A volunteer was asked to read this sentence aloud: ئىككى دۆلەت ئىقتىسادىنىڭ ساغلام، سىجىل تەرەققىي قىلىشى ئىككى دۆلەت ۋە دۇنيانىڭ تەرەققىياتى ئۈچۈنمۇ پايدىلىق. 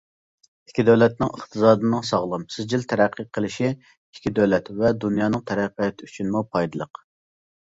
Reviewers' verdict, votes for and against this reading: rejected, 1, 2